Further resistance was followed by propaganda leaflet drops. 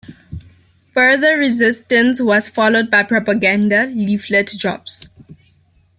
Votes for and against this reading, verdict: 2, 0, accepted